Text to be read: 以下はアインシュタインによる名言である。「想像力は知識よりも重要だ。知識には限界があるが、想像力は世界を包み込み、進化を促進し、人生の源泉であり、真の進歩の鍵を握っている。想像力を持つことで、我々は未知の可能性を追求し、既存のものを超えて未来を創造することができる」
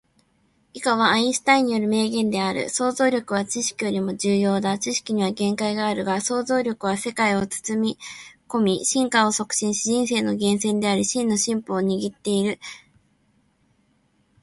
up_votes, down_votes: 3, 2